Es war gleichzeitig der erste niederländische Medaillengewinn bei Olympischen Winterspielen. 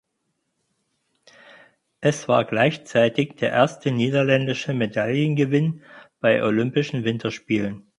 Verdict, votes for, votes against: accepted, 8, 0